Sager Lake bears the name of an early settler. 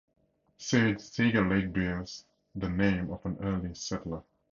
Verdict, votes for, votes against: rejected, 0, 2